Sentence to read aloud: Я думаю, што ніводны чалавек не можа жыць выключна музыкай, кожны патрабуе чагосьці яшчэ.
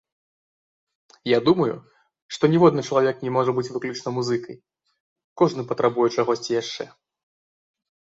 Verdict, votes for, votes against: rejected, 0, 2